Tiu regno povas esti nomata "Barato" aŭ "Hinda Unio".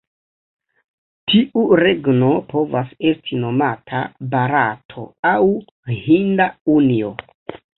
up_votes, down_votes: 0, 2